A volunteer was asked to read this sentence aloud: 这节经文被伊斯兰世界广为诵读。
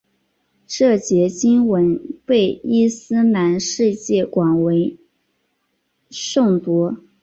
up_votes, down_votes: 2, 0